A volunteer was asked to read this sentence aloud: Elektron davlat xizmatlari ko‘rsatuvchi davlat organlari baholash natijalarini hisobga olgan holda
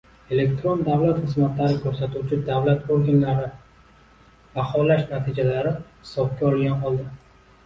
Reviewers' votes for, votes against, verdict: 0, 2, rejected